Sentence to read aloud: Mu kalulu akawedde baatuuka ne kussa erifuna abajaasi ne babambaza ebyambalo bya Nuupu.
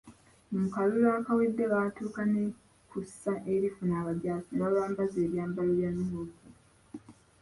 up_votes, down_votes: 2, 0